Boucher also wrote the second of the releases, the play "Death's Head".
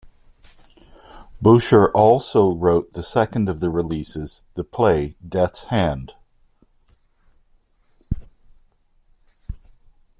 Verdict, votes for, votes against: rejected, 0, 2